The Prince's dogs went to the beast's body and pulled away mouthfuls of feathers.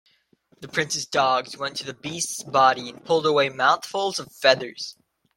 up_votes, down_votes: 2, 0